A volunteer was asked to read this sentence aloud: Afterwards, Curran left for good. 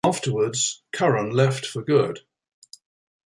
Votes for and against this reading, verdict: 2, 0, accepted